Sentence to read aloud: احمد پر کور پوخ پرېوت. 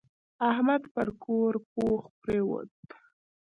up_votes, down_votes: 0, 2